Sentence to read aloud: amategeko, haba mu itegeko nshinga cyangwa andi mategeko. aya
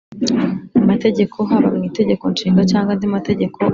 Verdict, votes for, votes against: rejected, 1, 2